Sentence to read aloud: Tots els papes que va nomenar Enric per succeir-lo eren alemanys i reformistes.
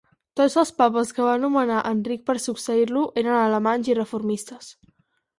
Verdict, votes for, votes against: accepted, 4, 0